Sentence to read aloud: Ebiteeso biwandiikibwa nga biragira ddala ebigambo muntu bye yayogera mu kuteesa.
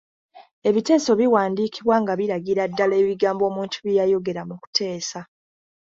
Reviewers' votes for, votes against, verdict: 2, 0, accepted